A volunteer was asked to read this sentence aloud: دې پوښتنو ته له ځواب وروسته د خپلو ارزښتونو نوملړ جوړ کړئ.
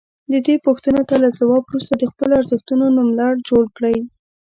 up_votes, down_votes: 2, 1